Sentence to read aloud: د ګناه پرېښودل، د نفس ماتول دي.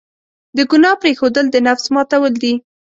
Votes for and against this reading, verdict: 2, 0, accepted